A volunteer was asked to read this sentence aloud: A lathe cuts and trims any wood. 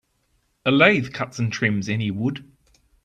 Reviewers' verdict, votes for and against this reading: accepted, 2, 0